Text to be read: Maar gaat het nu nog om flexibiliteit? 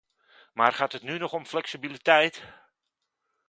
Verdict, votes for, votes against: accepted, 2, 0